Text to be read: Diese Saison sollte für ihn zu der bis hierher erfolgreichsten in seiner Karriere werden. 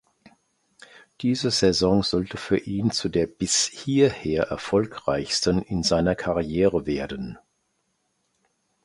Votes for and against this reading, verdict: 2, 1, accepted